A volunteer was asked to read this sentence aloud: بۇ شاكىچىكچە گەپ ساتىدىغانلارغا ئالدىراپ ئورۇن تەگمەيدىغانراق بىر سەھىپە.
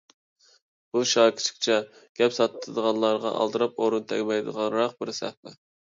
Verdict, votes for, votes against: accepted, 2, 0